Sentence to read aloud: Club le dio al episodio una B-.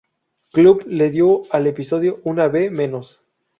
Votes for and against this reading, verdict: 0, 4, rejected